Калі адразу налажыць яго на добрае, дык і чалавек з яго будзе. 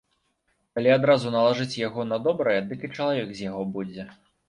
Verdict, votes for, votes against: accepted, 3, 0